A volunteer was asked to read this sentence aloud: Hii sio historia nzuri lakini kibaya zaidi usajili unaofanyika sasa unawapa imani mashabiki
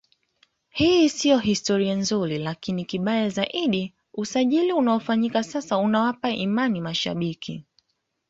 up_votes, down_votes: 2, 0